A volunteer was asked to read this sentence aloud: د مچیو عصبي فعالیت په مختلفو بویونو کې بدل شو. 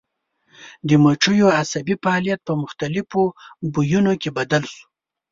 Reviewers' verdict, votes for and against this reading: accepted, 4, 0